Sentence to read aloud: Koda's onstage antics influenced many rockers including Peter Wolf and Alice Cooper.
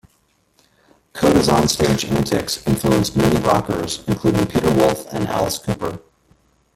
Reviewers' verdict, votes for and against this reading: rejected, 1, 2